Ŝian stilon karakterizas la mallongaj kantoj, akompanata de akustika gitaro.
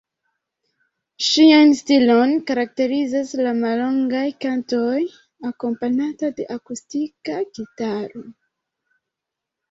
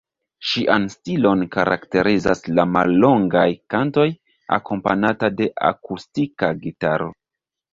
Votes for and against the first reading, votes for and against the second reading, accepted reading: 0, 2, 2, 1, second